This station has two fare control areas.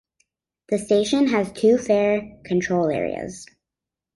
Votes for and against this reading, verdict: 2, 0, accepted